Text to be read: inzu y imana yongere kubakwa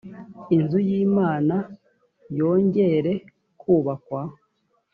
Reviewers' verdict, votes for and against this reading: accepted, 2, 0